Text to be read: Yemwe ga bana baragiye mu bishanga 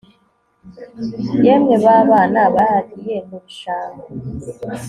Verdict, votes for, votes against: accepted, 2, 0